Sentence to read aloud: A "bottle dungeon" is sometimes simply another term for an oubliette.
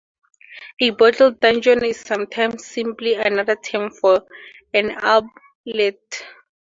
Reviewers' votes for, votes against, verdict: 2, 2, rejected